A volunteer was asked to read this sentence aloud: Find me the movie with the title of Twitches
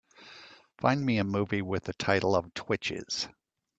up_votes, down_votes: 0, 2